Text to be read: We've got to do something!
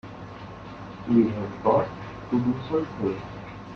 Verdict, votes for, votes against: rejected, 0, 2